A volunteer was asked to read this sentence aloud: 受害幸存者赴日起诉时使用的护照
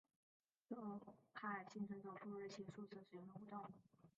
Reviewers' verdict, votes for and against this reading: rejected, 1, 2